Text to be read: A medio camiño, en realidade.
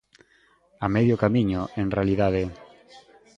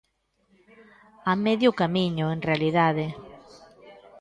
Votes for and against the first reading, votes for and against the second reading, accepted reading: 2, 1, 0, 2, first